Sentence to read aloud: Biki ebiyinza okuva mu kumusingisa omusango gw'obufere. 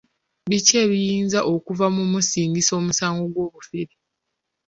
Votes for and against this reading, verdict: 2, 0, accepted